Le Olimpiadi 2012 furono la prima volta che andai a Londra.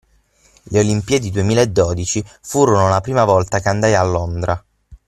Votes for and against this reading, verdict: 0, 2, rejected